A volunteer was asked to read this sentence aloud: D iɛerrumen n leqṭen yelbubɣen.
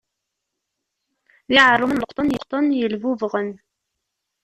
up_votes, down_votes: 0, 2